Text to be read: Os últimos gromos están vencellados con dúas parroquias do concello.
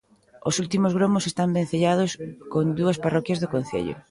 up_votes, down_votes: 2, 1